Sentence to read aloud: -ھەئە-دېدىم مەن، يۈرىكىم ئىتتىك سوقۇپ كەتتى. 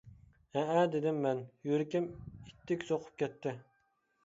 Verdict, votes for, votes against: accepted, 2, 0